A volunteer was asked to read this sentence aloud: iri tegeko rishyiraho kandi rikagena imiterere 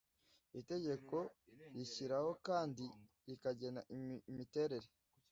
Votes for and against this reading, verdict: 1, 2, rejected